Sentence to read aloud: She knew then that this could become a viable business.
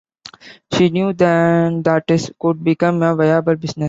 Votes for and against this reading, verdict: 0, 2, rejected